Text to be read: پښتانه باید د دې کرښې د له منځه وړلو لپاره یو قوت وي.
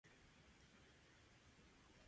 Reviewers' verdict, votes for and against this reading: rejected, 0, 2